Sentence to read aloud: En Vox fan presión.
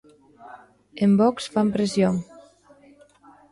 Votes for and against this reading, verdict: 2, 0, accepted